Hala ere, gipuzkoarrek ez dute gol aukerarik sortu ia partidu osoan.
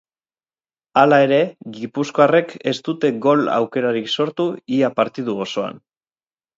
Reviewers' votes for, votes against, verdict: 4, 0, accepted